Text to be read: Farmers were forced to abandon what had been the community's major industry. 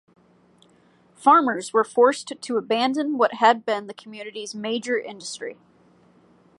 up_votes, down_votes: 1, 2